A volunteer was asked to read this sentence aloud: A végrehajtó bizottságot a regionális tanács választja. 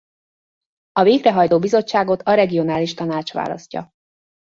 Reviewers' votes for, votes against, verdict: 2, 0, accepted